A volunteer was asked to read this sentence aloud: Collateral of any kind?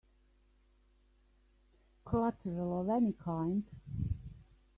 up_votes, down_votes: 2, 1